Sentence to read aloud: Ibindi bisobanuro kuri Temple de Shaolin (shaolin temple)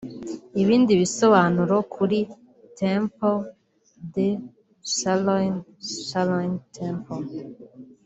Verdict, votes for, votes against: rejected, 1, 2